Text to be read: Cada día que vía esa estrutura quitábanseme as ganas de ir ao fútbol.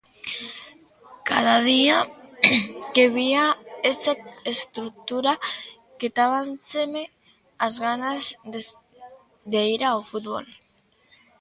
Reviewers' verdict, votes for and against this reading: rejected, 0, 2